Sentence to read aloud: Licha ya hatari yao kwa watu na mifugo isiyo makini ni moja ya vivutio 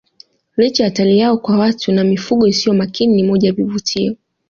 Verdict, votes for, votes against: accepted, 2, 0